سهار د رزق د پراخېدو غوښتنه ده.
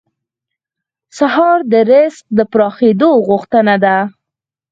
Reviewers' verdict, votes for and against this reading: accepted, 4, 0